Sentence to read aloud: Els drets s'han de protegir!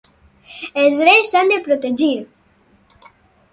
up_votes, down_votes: 4, 0